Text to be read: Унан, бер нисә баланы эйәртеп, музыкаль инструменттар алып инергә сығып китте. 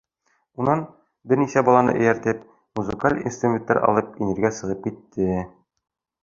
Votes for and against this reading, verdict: 2, 0, accepted